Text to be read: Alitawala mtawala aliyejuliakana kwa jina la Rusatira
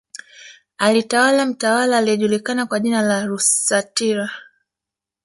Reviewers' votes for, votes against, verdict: 2, 0, accepted